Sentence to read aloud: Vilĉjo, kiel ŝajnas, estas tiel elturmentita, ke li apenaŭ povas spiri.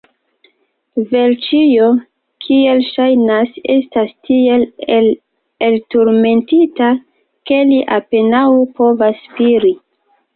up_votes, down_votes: 2, 0